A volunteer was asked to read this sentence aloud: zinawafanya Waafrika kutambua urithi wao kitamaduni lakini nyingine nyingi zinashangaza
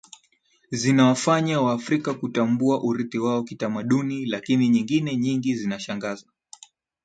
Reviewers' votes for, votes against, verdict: 1, 3, rejected